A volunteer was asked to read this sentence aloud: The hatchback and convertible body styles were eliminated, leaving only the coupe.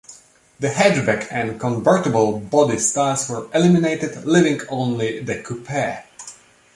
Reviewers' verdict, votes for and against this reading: rejected, 0, 2